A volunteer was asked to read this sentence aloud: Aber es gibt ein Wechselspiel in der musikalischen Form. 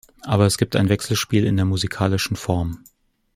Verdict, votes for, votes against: accepted, 2, 0